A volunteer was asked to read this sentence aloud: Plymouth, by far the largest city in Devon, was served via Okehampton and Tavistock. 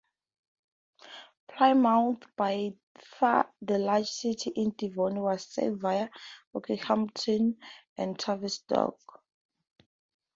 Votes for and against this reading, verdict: 2, 0, accepted